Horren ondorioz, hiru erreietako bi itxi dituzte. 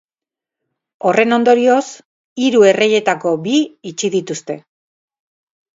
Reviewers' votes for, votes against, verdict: 6, 0, accepted